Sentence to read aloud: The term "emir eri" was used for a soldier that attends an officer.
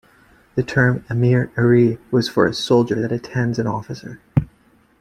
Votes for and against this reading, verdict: 1, 2, rejected